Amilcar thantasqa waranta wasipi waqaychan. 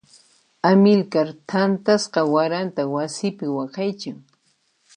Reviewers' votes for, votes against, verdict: 1, 2, rejected